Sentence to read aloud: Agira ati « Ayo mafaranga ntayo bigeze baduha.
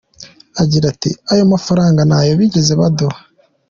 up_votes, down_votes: 2, 0